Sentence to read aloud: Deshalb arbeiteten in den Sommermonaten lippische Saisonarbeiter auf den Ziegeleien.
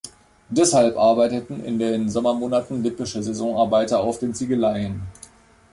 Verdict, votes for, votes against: accepted, 2, 0